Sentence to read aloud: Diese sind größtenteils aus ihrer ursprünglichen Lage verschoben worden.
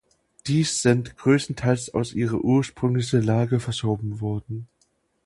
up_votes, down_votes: 0, 2